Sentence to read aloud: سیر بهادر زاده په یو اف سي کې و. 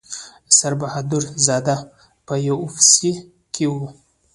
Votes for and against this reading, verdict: 0, 2, rejected